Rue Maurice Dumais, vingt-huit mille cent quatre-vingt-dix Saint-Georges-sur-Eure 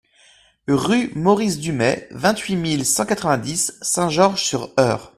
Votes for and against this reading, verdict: 2, 0, accepted